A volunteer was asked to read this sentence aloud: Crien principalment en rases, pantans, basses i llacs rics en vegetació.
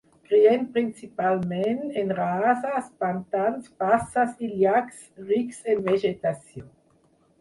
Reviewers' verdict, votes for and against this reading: accepted, 4, 2